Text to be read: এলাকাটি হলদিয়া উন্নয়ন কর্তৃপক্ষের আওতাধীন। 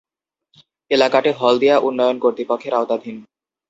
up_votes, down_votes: 2, 0